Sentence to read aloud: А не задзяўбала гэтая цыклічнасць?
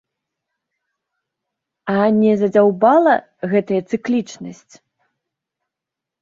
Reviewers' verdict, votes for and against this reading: accepted, 2, 0